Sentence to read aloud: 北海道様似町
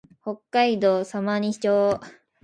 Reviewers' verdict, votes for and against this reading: accepted, 5, 0